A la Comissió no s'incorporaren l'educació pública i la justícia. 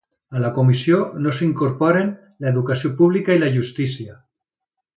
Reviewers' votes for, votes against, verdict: 1, 2, rejected